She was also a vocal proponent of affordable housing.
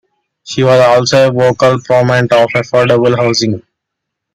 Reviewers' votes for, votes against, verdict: 0, 2, rejected